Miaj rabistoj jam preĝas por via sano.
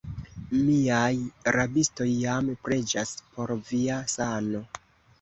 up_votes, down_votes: 2, 0